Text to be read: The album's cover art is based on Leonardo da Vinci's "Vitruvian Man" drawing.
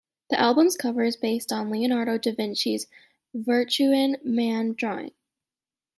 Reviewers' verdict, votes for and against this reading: accepted, 2, 0